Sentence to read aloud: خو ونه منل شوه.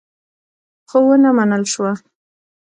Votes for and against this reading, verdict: 0, 2, rejected